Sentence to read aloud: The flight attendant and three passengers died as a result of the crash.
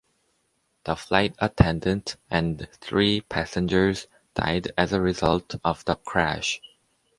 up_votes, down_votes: 2, 0